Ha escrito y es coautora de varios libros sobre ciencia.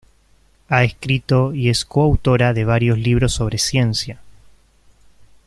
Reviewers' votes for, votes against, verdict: 2, 1, accepted